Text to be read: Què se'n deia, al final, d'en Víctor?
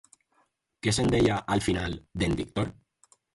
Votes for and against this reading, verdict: 4, 2, accepted